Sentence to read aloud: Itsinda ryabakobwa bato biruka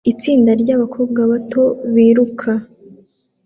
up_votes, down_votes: 2, 0